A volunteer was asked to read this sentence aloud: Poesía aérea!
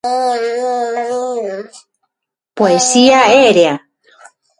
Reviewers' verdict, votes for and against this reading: rejected, 0, 6